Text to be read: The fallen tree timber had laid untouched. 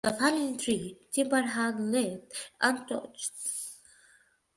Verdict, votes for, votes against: accepted, 2, 1